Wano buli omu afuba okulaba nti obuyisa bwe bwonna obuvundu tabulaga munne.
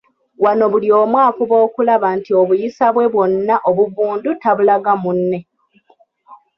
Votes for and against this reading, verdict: 2, 0, accepted